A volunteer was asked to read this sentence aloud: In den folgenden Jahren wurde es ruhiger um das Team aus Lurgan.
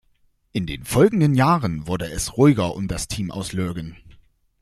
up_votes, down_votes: 2, 0